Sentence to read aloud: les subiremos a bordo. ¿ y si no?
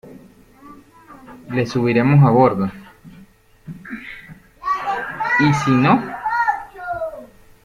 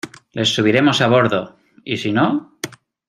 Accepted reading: second